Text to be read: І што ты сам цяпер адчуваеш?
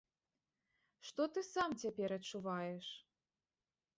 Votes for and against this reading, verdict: 2, 1, accepted